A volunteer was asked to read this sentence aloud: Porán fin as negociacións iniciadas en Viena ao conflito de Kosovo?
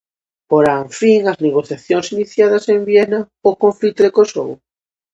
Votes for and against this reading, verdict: 2, 0, accepted